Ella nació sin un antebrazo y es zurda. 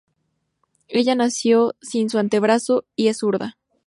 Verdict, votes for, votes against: rejected, 2, 2